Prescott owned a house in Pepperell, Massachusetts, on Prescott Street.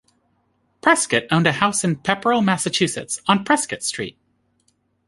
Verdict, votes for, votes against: accepted, 2, 0